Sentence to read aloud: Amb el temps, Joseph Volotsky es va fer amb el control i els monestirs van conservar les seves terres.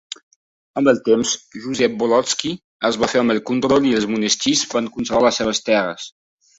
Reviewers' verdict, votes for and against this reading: rejected, 1, 2